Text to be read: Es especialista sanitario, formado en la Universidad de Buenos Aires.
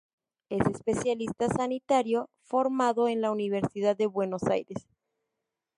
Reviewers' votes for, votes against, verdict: 0, 2, rejected